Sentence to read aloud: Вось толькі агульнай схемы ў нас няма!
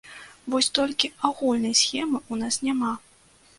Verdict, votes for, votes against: rejected, 0, 2